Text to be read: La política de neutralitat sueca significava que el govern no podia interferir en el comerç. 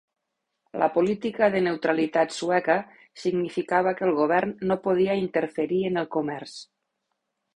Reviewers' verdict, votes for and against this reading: accepted, 4, 0